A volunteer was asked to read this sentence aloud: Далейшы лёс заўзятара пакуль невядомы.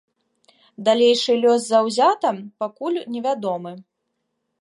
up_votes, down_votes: 0, 2